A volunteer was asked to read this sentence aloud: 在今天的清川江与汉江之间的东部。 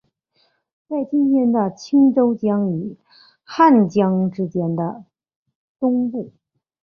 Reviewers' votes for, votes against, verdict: 2, 0, accepted